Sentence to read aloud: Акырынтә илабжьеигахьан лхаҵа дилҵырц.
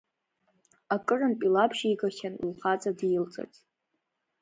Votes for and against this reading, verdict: 1, 2, rejected